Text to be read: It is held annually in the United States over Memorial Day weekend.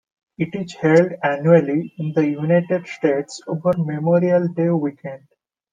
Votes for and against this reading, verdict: 2, 0, accepted